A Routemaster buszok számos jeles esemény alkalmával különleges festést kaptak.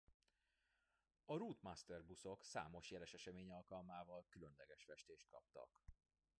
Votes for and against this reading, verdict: 0, 2, rejected